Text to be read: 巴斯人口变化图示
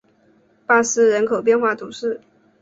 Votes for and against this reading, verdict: 2, 0, accepted